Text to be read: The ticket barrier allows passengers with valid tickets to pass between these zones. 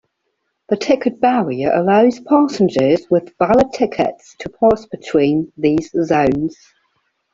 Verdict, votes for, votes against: accepted, 2, 1